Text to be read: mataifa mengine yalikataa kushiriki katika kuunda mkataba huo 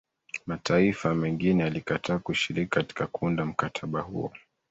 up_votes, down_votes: 2, 1